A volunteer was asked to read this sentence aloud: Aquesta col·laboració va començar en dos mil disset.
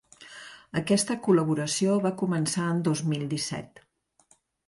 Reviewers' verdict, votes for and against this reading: accepted, 2, 0